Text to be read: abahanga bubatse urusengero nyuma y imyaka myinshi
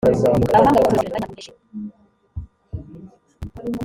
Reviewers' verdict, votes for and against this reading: rejected, 0, 3